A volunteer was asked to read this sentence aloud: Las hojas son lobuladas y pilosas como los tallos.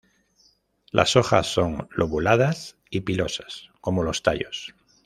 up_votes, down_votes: 2, 1